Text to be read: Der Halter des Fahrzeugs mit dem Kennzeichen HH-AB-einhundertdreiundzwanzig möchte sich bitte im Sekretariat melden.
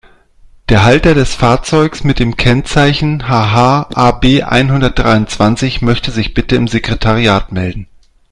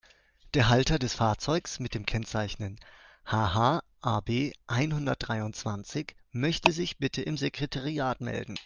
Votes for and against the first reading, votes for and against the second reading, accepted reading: 2, 0, 1, 2, first